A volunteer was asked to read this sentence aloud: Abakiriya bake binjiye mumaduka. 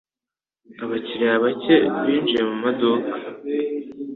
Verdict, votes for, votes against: accepted, 2, 0